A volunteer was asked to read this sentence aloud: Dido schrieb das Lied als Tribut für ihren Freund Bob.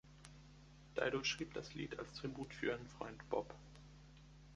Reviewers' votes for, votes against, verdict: 1, 2, rejected